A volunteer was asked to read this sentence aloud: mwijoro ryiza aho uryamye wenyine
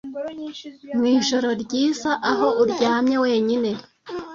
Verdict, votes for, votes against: rejected, 0, 2